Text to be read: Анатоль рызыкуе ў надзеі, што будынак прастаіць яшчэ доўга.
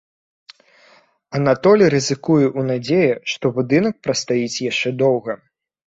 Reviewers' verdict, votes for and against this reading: accepted, 3, 0